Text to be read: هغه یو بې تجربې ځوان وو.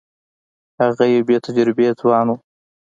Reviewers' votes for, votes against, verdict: 2, 0, accepted